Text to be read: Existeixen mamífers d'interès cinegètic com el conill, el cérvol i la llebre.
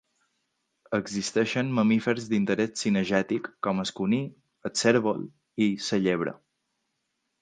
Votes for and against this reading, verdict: 0, 2, rejected